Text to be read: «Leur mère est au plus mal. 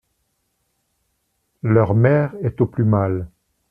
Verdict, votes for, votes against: accepted, 2, 0